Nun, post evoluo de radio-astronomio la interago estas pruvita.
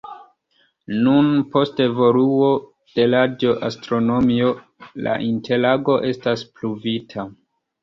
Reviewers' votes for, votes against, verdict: 2, 1, accepted